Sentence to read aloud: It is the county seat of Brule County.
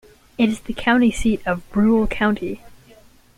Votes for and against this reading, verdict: 2, 0, accepted